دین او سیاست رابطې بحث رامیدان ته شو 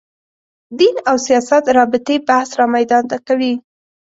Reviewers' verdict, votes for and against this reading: rejected, 2, 3